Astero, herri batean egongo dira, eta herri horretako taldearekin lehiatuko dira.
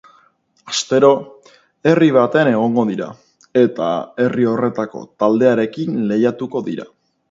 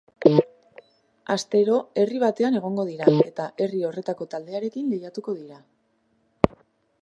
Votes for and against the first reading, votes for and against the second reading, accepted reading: 2, 0, 1, 2, first